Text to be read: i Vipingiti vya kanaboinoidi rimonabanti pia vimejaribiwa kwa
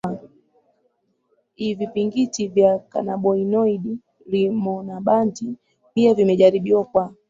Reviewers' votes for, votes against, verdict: 0, 2, rejected